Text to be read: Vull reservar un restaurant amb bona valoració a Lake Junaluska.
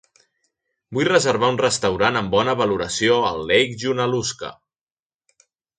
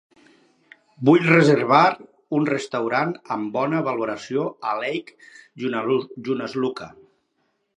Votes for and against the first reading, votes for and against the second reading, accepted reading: 2, 0, 0, 4, first